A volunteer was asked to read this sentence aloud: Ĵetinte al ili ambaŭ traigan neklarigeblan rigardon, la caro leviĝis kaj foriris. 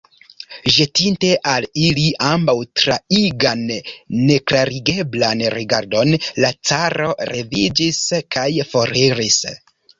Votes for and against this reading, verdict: 0, 2, rejected